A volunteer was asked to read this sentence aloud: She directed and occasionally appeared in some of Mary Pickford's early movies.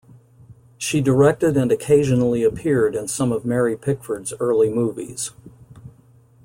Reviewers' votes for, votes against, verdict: 2, 0, accepted